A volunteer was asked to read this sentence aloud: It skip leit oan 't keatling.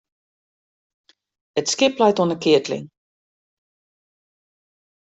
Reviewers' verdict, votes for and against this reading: accepted, 2, 0